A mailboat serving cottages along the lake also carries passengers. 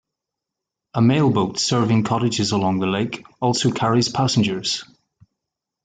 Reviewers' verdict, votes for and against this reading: accepted, 2, 0